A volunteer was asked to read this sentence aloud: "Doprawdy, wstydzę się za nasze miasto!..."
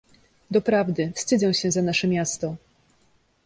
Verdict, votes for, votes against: accepted, 2, 0